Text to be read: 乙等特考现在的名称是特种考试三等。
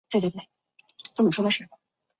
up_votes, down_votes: 0, 2